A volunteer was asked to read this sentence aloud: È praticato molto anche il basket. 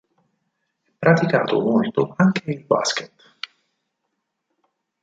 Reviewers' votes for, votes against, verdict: 2, 4, rejected